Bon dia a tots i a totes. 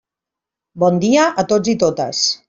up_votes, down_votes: 0, 2